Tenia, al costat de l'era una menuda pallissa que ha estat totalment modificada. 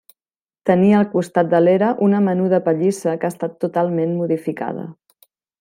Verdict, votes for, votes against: accepted, 2, 0